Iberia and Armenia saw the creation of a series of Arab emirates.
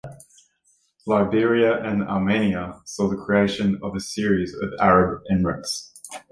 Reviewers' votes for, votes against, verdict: 0, 2, rejected